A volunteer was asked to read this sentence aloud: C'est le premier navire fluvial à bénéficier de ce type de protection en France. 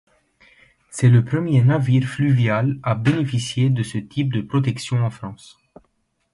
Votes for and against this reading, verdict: 2, 0, accepted